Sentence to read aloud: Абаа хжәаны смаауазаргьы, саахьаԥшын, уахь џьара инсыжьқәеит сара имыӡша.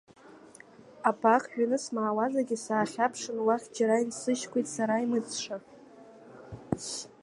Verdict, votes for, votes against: rejected, 0, 2